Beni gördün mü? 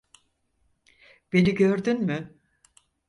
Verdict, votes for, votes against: accepted, 4, 0